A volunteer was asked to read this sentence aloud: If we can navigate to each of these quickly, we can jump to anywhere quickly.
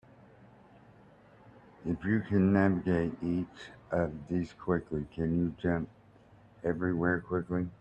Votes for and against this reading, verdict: 0, 2, rejected